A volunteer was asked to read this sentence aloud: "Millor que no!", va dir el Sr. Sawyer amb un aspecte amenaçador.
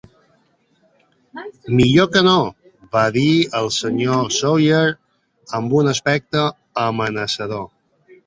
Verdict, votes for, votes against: accepted, 2, 0